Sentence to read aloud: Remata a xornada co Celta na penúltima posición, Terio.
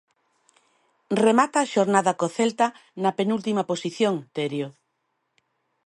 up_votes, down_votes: 2, 0